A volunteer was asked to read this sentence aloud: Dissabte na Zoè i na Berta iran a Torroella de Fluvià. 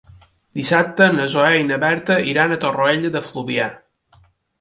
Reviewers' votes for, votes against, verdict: 2, 0, accepted